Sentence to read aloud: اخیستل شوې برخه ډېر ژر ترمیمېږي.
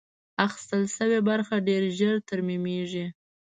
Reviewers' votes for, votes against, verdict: 2, 0, accepted